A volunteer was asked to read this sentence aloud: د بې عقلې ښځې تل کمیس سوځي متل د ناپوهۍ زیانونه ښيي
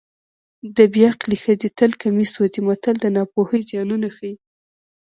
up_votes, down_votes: 1, 2